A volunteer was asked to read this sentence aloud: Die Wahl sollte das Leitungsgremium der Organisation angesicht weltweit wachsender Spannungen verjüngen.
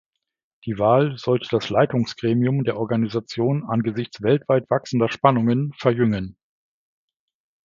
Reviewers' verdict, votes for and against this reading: rejected, 1, 2